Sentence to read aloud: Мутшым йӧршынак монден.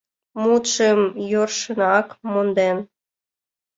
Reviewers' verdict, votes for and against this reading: rejected, 0, 2